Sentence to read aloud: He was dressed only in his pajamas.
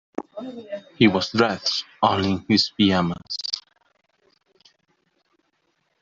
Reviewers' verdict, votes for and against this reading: rejected, 0, 2